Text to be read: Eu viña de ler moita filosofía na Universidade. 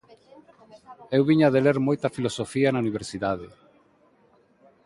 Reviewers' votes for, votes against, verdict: 2, 0, accepted